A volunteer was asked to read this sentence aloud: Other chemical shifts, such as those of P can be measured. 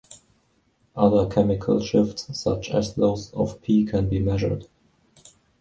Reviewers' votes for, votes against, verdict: 2, 1, accepted